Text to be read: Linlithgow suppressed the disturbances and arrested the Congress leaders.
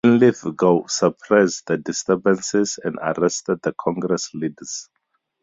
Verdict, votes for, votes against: accepted, 2, 0